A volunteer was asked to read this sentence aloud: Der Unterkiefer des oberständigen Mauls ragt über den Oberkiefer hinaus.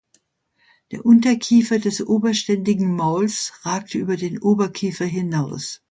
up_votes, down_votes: 2, 0